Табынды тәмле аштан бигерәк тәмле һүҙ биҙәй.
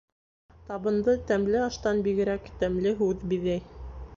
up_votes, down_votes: 1, 2